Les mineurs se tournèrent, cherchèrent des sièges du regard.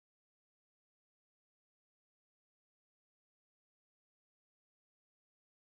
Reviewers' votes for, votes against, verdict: 0, 2, rejected